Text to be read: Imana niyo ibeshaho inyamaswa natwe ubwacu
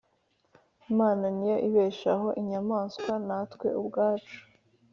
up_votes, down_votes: 4, 0